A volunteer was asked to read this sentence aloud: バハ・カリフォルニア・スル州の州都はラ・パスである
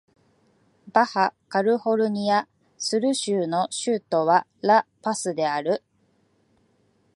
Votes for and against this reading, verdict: 2, 0, accepted